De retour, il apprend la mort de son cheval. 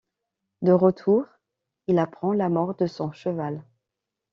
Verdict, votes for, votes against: accepted, 2, 0